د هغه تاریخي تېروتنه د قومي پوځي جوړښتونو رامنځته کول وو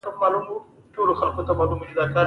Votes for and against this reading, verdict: 1, 2, rejected